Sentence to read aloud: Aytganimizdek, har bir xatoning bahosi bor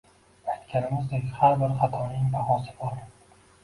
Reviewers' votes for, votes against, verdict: 0, 2, rejected